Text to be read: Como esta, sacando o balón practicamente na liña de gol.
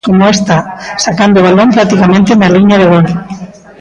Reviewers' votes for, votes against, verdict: 1, 2, rejected